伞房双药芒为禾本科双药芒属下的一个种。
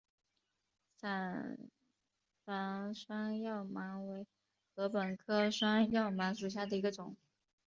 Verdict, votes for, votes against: rejected, 0, 2